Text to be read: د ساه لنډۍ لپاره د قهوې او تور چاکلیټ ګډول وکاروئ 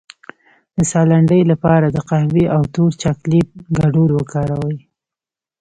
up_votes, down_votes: 2, 0